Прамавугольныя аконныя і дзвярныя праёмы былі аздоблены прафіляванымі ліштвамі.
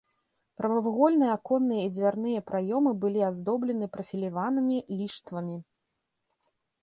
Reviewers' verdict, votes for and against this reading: accepted, 2, 1